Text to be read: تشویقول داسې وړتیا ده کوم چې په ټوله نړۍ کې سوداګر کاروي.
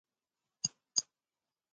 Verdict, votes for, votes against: rejected, 0, 2